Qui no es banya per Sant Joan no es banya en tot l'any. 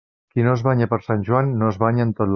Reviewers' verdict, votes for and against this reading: rejected, 1, 2